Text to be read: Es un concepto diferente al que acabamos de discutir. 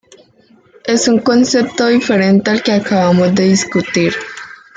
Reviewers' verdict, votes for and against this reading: rejected, 1, 2